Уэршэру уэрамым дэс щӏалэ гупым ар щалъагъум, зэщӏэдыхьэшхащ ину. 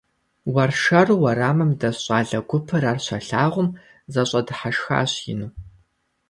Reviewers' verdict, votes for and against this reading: accepted, 2, 0